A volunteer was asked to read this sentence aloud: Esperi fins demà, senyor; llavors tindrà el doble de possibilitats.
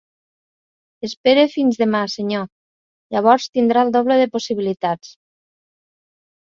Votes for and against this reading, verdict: 0, 2, rejected